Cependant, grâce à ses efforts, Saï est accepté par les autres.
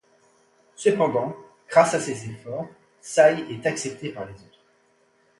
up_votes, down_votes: 0, 2